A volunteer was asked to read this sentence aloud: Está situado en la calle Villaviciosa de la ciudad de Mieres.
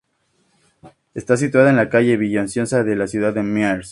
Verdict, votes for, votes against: rejected, 0, 2